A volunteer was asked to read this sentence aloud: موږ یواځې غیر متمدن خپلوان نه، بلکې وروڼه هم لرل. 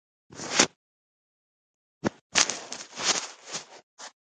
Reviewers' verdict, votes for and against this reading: rejected, 0, 2